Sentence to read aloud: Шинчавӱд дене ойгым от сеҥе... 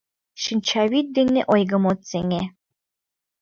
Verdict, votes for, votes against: accepted, 2, 0